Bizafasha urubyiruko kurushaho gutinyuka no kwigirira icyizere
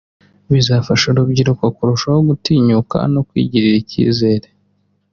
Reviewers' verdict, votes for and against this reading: accepted, 2, 0